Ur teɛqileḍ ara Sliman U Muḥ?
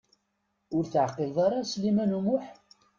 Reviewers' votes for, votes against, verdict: 2, 0, accepted